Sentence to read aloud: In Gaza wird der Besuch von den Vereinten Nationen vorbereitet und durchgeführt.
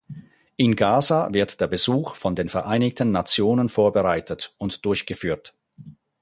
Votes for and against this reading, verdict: 0, 4, rejected